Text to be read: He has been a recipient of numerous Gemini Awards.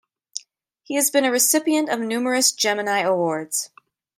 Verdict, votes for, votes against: accepted, 2, 0